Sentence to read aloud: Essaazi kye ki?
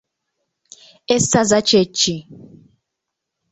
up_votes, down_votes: 2, 0